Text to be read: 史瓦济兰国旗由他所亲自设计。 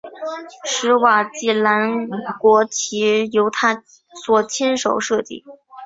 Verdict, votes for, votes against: accepted, 3, 2